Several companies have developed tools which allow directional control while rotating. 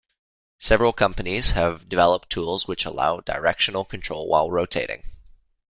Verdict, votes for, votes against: accepted, 2, 0